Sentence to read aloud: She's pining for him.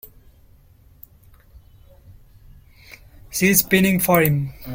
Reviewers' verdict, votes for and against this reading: rejected, 1, 2